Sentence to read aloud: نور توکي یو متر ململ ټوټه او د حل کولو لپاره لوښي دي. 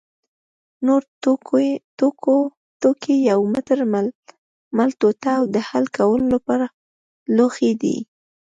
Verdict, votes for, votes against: rejected, 1, 2